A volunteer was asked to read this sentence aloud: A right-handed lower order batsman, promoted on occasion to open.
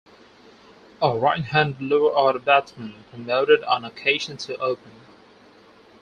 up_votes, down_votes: 0, 4